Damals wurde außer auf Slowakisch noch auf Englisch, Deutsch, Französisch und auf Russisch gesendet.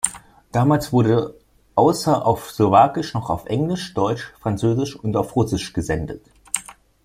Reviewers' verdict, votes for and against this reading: accepted, 2, 1